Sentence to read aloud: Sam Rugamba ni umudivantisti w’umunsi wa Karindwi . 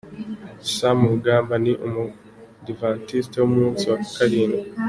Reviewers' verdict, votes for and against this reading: accepted, 2, 1